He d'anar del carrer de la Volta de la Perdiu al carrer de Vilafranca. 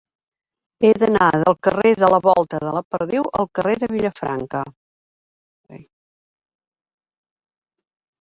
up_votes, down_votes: 0, 2